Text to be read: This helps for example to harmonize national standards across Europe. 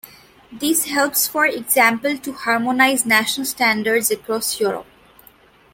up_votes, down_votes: 2, 0